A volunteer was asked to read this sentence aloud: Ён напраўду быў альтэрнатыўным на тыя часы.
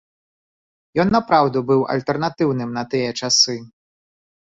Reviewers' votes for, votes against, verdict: 2, 0, accepted